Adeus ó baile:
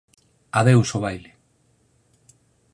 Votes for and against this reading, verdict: 4, 0, accepted